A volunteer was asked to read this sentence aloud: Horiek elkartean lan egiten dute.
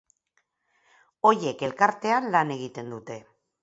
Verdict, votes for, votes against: rejected, 2, 4